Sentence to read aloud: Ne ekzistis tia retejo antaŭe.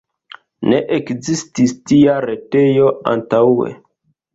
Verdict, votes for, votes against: rejected, 1, 2